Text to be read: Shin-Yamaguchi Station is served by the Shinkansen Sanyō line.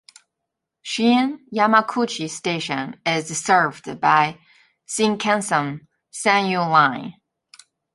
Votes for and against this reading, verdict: 2, 0, accepted